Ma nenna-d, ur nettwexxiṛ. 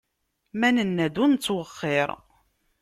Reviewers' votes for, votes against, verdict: 2, 0, accepted